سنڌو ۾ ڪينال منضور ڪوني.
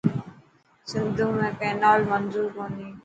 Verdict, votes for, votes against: accepted, 2, 0